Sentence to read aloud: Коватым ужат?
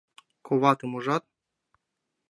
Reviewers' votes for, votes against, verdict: 2, 0, accepted